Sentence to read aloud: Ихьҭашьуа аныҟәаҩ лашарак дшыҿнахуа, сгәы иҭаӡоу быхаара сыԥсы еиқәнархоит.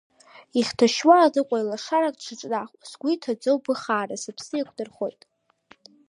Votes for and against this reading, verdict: 3, 1, accepted